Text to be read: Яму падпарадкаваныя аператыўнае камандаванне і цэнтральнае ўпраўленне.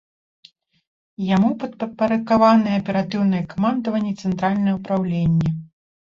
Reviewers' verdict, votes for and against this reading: rejected, 1, 2